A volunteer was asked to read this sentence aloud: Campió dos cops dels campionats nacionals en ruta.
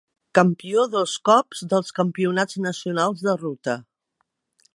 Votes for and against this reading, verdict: 1, 3, rejected